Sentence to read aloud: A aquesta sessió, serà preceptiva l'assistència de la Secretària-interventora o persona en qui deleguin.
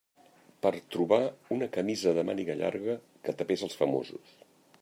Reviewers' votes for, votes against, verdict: 0, 2, rejected